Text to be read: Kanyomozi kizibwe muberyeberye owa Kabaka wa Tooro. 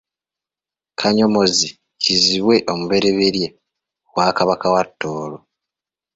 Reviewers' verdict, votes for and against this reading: rejected, 2, 3